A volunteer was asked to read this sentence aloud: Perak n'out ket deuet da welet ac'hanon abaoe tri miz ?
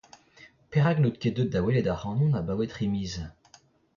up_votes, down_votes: 0, 2